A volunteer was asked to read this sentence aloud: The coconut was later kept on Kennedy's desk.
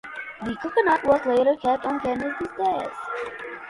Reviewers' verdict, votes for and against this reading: accepted, 2, 0